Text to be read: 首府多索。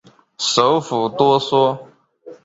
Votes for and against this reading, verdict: 4, 0, accepted